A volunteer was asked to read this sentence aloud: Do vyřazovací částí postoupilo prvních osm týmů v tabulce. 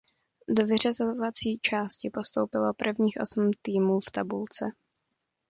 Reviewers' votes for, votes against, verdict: 2, 0, accepted